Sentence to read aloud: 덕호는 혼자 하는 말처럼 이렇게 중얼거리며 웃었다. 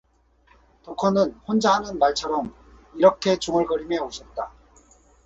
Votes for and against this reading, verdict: 4, 0, accepted